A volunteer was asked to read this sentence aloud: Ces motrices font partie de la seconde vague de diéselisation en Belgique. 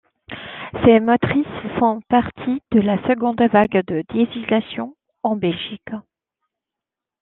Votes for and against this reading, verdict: 0, 2, rejected